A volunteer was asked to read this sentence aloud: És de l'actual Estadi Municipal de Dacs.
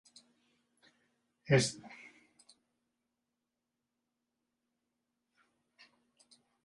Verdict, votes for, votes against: rejected, 0, 2